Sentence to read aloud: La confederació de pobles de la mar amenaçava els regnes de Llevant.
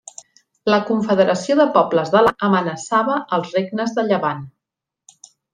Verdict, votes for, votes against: rejected, 1, 2